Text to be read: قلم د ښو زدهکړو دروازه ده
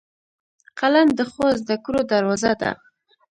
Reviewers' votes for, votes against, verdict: 1, 2, rejected